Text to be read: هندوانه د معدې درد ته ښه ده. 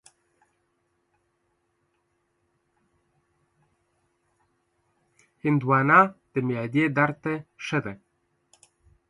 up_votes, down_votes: 0, 3